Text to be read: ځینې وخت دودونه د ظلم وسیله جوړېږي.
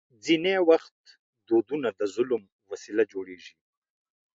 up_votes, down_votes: 2, 0